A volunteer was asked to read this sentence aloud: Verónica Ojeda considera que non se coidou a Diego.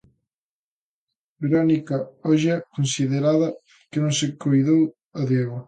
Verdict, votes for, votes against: rejected, 0, 2